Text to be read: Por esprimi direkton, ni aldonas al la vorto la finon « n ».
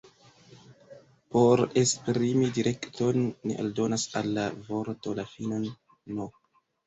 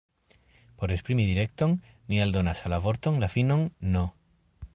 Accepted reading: second